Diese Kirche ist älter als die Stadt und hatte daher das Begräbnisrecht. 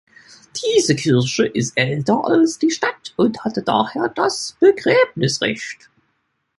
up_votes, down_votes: 1, 2